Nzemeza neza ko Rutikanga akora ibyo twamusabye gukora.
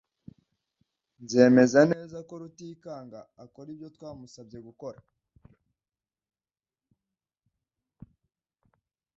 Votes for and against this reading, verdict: 2, 0, accepted